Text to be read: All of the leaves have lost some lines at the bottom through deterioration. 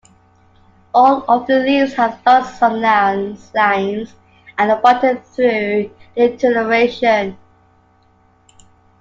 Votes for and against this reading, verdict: 1, 2, rejected